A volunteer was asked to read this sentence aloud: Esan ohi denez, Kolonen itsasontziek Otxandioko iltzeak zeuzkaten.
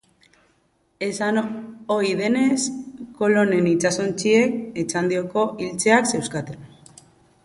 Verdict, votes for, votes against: rejected, 1, 2